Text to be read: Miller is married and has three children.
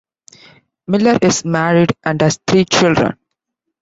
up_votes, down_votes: 2, 0